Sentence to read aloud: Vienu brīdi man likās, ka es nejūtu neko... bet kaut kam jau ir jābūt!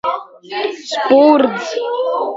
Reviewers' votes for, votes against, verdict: 0, 2, rejected